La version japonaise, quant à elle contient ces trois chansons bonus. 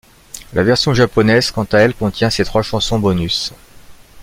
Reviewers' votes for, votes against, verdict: 2, 0, accepted